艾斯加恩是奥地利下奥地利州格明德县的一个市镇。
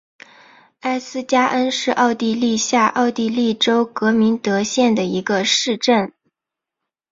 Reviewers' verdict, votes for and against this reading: accepted, 4, 0